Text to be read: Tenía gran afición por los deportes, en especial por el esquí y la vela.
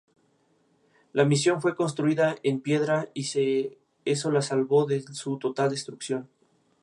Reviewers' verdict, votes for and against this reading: rejected, 0, 2